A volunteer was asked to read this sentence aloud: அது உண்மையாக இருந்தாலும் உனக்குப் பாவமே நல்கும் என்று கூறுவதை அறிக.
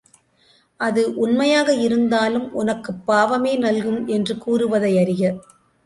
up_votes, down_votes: 3, 0